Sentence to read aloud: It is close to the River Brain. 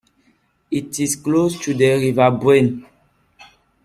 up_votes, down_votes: 1, 2